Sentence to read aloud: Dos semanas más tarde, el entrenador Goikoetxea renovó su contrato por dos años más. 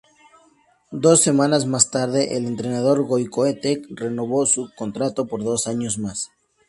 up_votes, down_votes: 2, 2